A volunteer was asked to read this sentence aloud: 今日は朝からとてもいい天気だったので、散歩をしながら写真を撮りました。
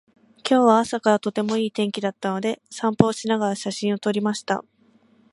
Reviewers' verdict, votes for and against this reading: accepted, 2, 0